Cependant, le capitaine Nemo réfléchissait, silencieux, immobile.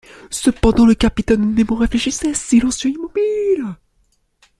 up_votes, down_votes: 0, 2